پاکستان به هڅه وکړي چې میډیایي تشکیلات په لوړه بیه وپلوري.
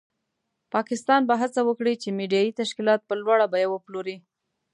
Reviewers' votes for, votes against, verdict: 2, 0, accepted